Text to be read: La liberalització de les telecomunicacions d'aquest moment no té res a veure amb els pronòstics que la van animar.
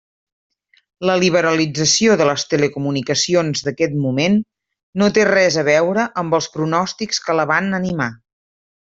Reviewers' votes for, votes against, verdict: 3, 1, accepted